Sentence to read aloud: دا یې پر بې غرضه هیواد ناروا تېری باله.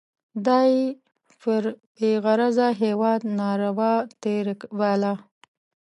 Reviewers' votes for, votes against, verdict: 1, 2, rejected